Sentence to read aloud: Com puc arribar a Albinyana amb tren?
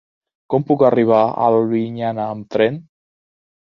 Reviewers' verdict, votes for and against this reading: accepted, 2, 0